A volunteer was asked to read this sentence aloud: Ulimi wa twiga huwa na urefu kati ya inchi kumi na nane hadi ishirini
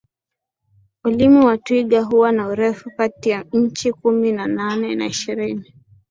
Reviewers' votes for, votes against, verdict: 4, 3, accepted